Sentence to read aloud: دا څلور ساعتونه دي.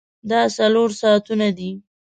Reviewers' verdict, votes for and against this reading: accepted, 4, 0